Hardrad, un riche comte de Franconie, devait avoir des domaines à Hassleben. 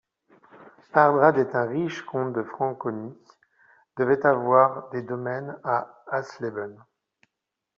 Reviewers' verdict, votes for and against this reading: rejected, 0, 2